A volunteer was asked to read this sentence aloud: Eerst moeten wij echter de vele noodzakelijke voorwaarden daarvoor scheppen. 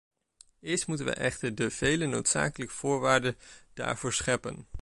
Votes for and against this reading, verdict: 1, 2, rejected